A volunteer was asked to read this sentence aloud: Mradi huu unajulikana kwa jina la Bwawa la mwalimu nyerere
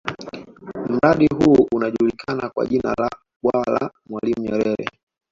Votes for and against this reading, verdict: 1, 2, rejected